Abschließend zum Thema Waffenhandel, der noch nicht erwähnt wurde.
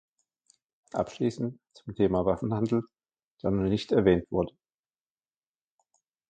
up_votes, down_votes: 2, 0